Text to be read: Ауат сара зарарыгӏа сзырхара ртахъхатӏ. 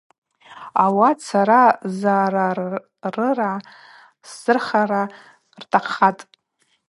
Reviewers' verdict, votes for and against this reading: accepted, 2, 0